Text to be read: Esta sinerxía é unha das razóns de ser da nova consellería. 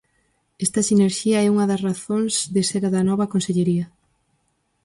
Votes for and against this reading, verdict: 2, 2, rejected